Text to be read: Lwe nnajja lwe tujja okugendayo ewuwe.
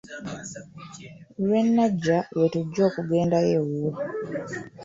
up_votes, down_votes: 2, 0